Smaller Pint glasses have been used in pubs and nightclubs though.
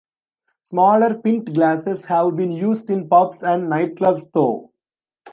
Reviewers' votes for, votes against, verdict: 1, 2, rejected